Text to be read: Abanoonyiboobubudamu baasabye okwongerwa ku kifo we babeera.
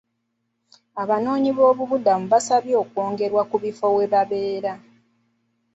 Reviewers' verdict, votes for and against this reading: accepted, 2, 0